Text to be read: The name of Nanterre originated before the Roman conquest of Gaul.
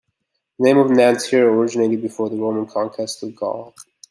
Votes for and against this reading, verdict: 3, 0, accepted